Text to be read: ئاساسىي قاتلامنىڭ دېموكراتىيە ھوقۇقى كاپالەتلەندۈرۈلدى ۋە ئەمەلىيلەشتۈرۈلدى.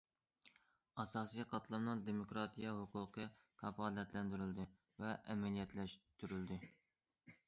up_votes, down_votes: 1, 2